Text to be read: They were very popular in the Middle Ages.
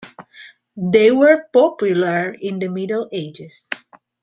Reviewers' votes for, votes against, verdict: 1, 2, rejected